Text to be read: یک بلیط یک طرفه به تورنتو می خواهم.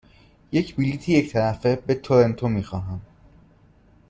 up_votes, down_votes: 2, 0